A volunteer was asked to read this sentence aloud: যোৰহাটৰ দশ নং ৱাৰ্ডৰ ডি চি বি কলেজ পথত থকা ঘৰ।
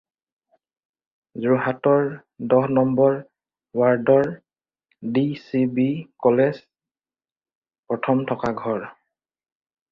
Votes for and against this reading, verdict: 0, 4, rejected